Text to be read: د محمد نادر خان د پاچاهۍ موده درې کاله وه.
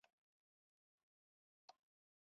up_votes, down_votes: 0, 2